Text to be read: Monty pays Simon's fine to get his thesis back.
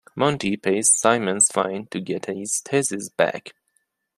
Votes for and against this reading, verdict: 2, 0, accepted